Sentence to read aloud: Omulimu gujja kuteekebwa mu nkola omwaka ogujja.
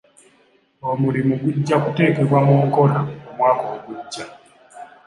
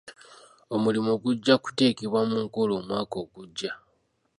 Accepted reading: first